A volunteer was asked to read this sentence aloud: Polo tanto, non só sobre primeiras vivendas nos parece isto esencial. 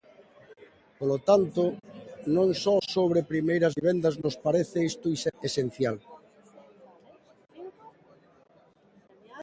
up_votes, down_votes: 1, 2